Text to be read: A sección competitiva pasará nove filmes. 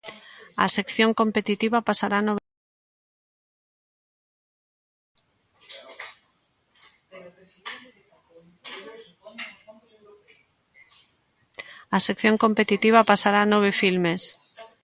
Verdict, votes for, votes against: rejected, 0, 2